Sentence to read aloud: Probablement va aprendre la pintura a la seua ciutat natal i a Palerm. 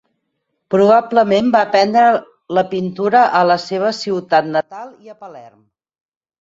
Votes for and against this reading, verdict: 2, 4, rejected